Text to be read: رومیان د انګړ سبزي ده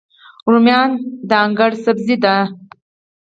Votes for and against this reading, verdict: 0, 4, rejected